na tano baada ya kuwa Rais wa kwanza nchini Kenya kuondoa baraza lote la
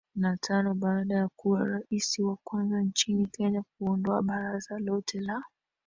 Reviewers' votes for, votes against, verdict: 2, 1, accepted